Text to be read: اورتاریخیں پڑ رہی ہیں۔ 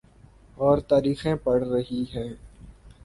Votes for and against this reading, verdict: 2, 0, accepted